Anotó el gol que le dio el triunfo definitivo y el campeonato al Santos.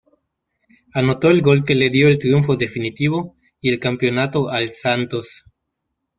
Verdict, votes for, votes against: accepted, 2, 0